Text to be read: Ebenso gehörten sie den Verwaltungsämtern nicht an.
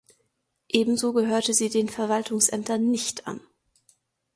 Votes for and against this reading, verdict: 1, 2, rejected